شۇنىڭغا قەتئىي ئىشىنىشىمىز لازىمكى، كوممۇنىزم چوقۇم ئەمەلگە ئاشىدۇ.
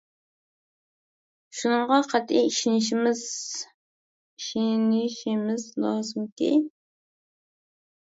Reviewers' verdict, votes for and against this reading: rejected, 0, 2